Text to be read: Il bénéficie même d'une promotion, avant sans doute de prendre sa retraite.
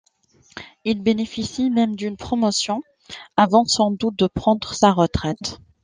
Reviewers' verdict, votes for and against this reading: accepted, 2, 0